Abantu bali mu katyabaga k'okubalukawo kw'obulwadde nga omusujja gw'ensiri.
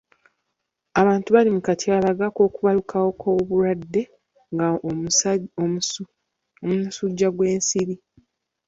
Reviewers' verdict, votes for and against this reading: rejected, 0, 2